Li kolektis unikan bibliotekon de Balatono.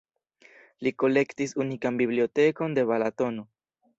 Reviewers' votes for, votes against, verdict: 2, 0, accepted